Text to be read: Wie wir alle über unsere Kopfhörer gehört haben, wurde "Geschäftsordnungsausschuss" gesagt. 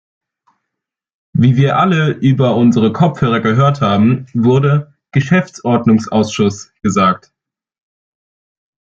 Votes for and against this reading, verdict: 2, 0, accepted